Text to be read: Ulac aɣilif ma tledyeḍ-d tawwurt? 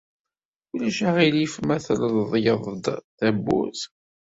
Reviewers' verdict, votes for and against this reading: rejected, 1, 2